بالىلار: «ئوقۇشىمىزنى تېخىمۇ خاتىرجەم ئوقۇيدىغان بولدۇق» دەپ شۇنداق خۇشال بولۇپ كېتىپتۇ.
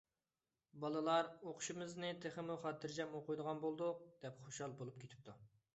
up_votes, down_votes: 0, 2